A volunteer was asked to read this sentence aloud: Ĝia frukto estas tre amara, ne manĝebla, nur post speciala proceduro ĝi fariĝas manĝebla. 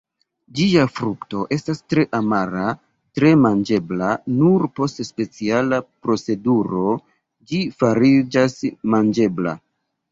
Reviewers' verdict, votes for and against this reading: rejected, 0, 2